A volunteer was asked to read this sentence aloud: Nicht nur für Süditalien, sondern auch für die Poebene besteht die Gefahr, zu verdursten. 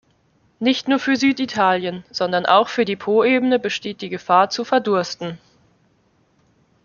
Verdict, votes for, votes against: accepted, 2, 0